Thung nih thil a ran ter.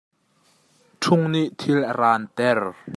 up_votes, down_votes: 2, 0